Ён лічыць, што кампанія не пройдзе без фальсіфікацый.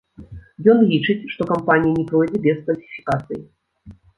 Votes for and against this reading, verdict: 2, 0, accepted